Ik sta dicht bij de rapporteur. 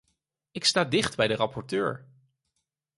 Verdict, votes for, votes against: accepted, 4, 0